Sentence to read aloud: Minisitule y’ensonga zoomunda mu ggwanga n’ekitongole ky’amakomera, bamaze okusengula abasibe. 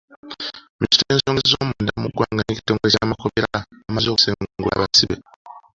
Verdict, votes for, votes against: rejected, 1, 2